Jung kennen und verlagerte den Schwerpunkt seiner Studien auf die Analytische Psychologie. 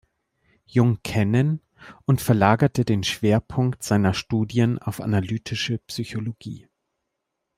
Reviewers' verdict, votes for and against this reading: rejected, 1, 2